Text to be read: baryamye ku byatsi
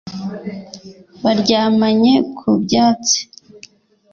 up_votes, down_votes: 2, 3